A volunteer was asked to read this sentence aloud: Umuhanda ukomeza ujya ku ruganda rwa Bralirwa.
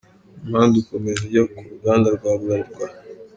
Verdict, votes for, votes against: accepted, 2, 0